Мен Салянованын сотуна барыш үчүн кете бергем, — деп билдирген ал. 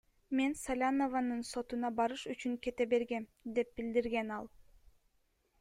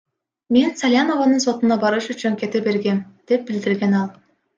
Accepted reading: first